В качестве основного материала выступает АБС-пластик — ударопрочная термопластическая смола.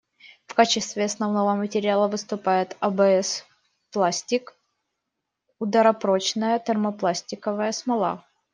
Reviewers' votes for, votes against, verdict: 0, 2, rejected